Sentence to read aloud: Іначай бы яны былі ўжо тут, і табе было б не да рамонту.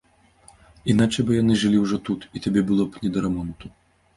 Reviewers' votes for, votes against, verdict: 1, 2, rejected